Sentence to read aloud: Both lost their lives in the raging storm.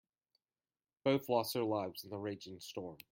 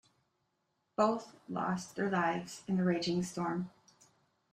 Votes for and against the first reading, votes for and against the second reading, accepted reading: 1, 2, 2, 0, second